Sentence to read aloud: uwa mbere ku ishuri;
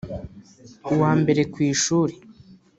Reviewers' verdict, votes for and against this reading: accepted, 2, 0